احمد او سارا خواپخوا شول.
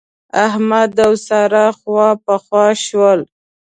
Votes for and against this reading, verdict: 2, 0, accepted